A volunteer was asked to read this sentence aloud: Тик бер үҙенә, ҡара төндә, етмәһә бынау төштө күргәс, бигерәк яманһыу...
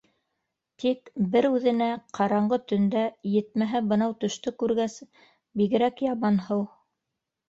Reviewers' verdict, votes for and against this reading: rejected, 0, 2